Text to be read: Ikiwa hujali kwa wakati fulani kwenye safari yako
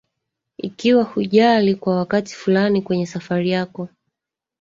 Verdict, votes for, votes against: rejected, 1, 2